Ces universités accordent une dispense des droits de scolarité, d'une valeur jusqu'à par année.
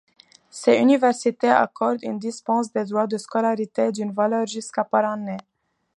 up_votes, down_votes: 2, 0